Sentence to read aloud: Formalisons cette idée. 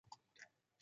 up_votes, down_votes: 0, 2